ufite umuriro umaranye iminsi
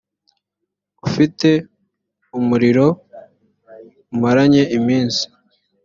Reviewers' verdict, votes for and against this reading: accepted, 2, 0